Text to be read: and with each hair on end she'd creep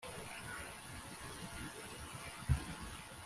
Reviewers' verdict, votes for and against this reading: rejected, 0, 2